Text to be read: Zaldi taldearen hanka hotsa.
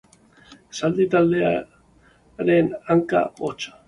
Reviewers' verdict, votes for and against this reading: accepted, 2, 1